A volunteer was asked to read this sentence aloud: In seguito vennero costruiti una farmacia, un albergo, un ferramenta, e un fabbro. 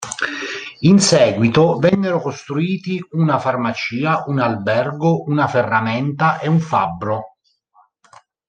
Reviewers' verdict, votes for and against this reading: rejected, 1, 2